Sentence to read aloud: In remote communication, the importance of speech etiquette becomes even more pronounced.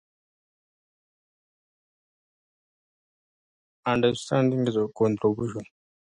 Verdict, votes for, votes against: rejected, 0, 2